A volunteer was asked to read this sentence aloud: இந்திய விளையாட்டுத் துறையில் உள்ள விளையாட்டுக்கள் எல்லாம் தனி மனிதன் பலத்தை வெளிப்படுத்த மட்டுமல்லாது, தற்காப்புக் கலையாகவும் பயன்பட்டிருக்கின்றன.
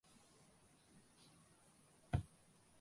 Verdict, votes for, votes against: rejected, 0, 2